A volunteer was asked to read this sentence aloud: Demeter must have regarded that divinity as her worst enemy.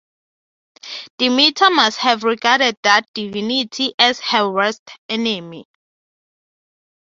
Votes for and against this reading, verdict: 3, 0, accepted